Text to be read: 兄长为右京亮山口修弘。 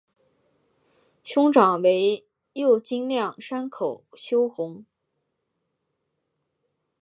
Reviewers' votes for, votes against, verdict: 2, 0, accepted